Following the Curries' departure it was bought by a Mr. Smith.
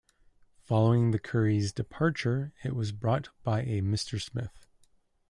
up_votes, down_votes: 1, 2